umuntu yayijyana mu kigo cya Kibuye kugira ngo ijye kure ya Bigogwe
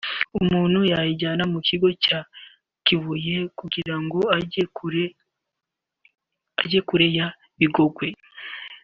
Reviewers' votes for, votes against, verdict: 0, 2, rejected